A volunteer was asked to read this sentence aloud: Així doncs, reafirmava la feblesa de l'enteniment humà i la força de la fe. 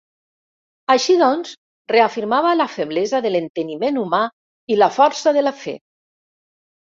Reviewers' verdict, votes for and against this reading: accepted, 2, 0